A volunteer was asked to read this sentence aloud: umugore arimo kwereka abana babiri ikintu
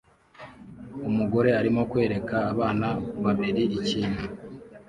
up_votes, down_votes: 2, 0